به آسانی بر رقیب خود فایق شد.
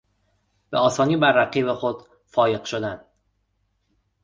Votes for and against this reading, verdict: 0, 2, rejected